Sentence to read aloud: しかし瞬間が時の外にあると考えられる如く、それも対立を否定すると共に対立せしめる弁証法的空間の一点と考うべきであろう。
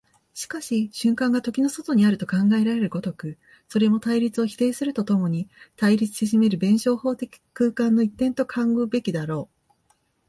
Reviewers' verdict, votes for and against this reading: accepted, 16, 1